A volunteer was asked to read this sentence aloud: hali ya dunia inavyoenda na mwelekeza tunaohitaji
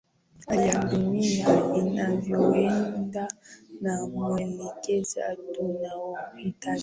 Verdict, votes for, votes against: accepted, 4, 3